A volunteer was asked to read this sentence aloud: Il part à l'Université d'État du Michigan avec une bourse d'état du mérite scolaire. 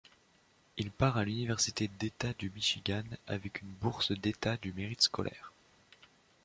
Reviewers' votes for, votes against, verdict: 2, 0, accepted